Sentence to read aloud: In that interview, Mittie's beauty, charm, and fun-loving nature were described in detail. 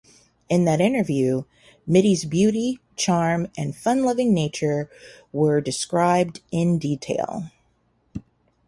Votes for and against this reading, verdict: 2, 0, accepted